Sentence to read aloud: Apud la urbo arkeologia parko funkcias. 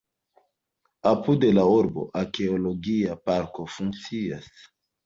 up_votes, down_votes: 2, 0